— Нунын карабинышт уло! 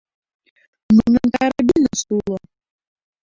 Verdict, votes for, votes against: rejected, 0, 2